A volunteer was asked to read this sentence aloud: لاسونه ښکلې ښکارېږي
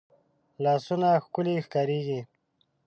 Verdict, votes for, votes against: accepted, 2, 0